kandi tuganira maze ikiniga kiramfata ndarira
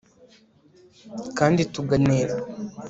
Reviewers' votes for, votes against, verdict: 0, 2, rejected